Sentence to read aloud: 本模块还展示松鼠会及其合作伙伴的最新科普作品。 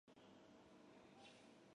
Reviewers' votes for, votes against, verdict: 0, 2, rejected